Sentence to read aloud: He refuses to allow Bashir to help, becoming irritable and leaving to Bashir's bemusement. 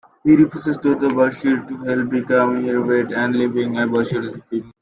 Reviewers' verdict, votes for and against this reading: rejected, 0, 2